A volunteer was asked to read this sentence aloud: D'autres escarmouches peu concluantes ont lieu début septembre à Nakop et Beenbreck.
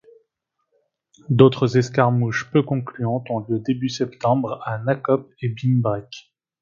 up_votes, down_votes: 2, 0